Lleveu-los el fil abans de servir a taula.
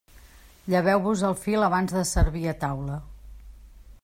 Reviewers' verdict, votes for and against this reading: rejected, 1, 2